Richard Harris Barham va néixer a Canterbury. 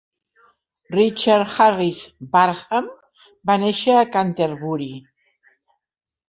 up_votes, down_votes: 3, 0